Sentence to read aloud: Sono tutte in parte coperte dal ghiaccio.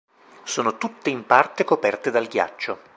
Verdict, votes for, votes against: accepted, 2, 1